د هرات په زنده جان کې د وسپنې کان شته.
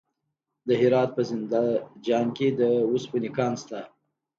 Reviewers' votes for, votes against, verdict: 2, 0, accepted